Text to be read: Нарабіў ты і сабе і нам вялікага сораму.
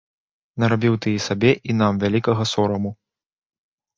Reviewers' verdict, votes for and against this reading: accepted, 3, 0